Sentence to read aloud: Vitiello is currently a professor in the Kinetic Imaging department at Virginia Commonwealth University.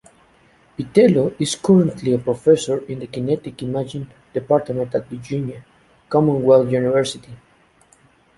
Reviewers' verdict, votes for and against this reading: accepted, 2, 1